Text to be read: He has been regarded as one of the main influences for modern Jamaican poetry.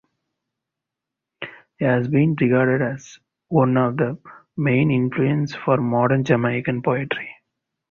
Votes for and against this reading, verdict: 4, 0, accepted